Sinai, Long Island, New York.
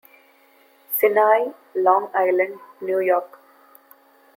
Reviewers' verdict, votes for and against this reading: accepted, 2, 0